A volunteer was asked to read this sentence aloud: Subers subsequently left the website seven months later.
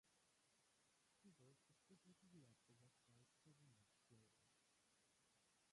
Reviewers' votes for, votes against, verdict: 0, 2, rejected